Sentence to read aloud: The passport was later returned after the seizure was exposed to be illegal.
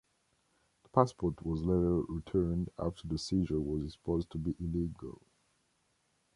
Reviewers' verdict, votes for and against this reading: rejected, 1, 2